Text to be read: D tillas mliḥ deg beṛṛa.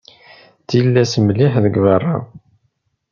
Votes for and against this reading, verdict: 2, 0, accepted